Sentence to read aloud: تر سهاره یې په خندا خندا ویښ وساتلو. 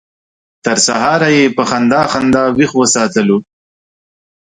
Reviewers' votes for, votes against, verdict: 2, 0, accepted